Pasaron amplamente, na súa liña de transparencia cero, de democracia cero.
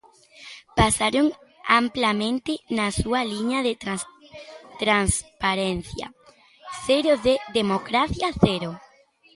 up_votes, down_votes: 1, 2